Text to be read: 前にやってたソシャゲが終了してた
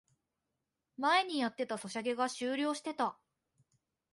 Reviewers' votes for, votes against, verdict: 2, 0, accepted